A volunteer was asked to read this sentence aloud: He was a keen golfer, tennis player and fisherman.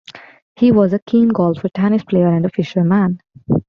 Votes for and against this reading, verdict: 2, 0, accepted